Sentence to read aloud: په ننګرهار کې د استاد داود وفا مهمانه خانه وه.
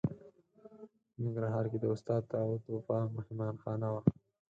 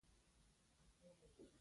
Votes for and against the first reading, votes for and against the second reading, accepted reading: 4, 0, 0, 2, first